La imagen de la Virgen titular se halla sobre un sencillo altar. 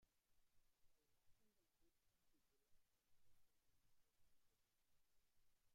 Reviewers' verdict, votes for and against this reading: rejected, 1, 2